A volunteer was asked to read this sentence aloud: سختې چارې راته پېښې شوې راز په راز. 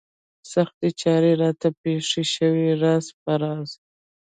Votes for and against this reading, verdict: 1, 2, rejected